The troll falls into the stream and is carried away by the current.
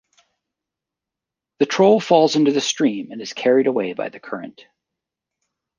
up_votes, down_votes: 2, 0